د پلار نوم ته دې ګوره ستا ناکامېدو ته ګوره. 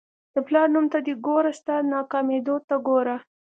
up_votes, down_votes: 2, 0